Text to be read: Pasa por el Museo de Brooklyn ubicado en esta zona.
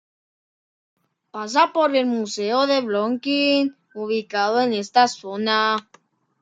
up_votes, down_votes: 2, 0